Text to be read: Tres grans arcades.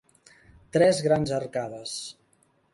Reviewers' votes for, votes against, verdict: 3, 0, accepted